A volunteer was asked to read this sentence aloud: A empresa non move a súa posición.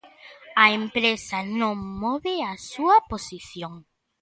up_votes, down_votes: 2, 0